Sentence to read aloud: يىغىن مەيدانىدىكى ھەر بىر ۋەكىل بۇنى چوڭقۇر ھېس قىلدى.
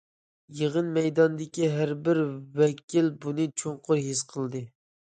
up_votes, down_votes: 2, 0